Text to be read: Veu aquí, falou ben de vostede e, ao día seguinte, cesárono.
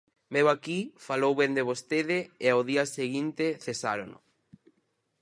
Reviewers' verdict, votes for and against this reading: accepted, 4, 0